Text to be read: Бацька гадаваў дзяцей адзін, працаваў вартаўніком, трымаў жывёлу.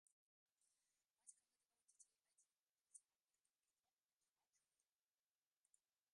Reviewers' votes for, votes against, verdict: 1, 2, rejected